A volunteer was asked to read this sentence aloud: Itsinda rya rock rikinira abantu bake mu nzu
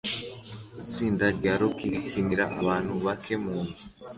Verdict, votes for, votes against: accepted, 2, 0